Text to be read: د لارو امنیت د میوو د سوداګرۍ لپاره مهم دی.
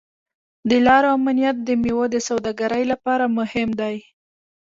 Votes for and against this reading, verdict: 2, 0, accepted